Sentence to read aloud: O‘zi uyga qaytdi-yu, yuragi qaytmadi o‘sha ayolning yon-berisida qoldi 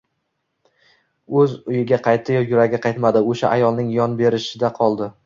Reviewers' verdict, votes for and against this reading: accepted, 2, 1